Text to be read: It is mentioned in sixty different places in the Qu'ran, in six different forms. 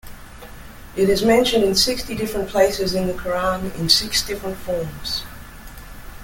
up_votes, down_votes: 2, 0